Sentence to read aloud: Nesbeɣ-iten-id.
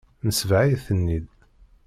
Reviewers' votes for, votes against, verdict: 1, 2, rejected